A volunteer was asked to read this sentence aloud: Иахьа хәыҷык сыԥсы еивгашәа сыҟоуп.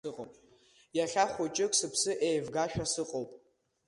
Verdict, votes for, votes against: accepted, 2, 0